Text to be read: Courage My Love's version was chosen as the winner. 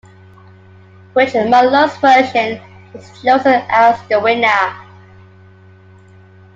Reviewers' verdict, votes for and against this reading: rejected, 0, 2